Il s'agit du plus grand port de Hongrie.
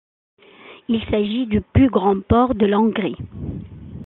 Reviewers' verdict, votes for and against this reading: rejected, 1, 2